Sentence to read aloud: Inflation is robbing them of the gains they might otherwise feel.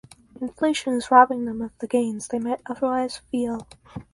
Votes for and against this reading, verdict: 4, 0, accepted